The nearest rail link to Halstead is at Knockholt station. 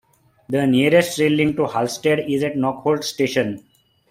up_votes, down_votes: 2, 1